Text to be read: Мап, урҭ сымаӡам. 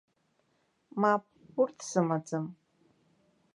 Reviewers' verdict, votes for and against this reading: accepted, 2, 0